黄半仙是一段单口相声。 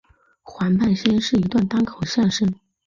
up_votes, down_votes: 2, 0